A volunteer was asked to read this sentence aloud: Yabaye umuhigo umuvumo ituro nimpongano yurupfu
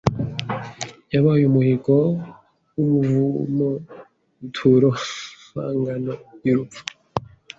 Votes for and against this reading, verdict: 1, 2, rejected